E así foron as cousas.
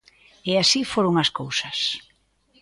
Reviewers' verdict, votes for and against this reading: accepted, 2, 0